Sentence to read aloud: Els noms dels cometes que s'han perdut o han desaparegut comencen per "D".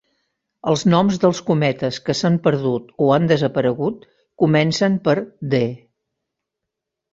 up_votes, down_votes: 3, 0